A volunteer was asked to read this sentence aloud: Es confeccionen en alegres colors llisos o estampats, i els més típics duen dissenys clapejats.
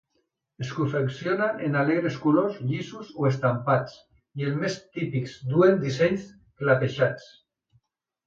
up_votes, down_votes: 1, 2